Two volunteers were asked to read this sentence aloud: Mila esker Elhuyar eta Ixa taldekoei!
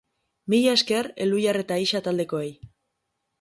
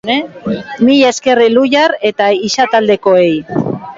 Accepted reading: first